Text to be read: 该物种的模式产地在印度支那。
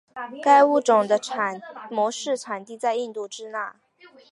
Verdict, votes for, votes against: rejected, 1, 2